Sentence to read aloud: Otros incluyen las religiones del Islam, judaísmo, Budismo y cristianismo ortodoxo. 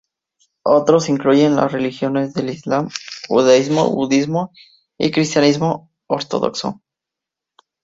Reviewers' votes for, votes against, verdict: 2, 0, accepted